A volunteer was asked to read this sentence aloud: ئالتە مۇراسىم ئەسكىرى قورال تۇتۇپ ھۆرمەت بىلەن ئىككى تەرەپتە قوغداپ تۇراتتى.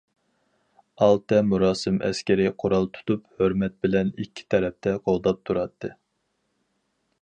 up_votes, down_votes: 4, 0